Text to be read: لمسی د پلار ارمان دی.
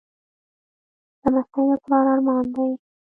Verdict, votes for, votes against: rejected, 0, 2